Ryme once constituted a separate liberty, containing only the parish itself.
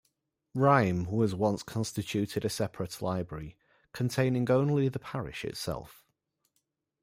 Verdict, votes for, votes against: rejected, 0, 2